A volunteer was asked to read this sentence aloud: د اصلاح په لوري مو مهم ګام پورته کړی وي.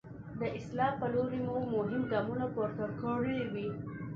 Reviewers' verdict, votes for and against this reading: accepted, 2, 0